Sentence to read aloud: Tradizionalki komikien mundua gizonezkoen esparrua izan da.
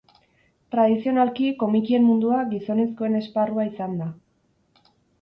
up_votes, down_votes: 6, 2